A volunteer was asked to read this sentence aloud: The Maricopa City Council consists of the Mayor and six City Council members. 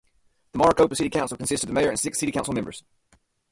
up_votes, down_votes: 0, 2